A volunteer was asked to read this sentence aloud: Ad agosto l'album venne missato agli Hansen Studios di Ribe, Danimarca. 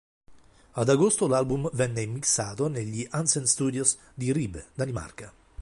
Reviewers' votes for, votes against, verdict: 1, 2, rejected